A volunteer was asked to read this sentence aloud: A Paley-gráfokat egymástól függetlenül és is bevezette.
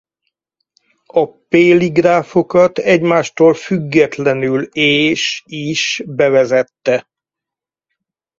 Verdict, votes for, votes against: accepted, 4, 0